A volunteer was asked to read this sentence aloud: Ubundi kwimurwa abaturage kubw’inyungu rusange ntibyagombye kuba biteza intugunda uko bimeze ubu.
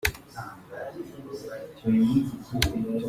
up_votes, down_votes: 0, 2